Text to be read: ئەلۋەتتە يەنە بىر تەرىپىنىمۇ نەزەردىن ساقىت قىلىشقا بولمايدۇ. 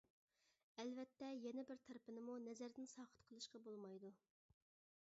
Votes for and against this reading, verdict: 2, 0, accepted